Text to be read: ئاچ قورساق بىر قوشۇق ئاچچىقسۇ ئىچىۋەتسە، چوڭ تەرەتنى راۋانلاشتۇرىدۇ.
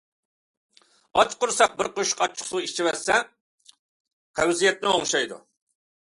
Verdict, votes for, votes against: rejected, 0, 2